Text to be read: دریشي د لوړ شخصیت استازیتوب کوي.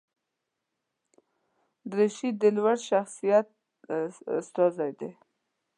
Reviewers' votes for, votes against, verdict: 0, 2, rejected